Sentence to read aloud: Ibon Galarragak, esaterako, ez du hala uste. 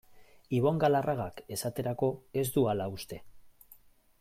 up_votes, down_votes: 2, 0